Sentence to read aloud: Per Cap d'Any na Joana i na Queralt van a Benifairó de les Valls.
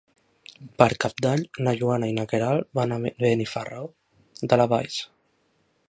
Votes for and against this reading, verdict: 1, 2, rejected